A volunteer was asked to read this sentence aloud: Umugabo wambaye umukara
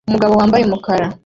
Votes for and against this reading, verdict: 0, 2, rejected